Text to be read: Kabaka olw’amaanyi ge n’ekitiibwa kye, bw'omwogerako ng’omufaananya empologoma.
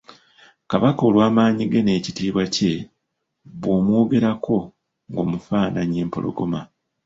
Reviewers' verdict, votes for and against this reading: rejected, 0, 2